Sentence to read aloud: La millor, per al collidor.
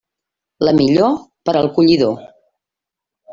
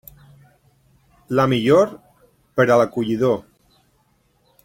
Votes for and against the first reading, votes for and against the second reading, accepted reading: 3, 0, 1, 2, first